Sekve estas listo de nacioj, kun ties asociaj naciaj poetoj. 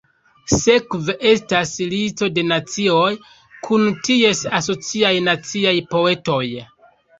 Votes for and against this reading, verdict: 3, 0, accepted